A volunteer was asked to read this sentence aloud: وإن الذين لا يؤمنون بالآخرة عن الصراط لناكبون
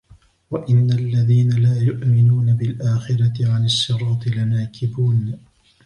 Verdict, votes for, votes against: rejected, 0, 2